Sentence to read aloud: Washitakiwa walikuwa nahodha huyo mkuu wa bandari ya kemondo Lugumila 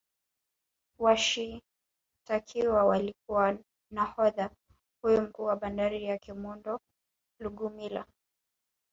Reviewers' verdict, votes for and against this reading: rejected, 0, 4